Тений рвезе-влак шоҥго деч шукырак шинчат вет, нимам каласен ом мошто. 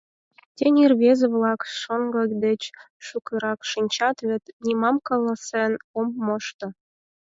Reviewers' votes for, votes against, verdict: 0, 4, rejected